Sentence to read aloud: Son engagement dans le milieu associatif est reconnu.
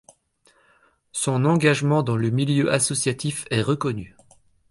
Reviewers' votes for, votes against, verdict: 2, 0, accepted